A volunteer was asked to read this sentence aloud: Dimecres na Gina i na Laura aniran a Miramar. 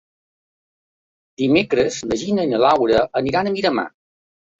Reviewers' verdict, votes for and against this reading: accepted, 2, 0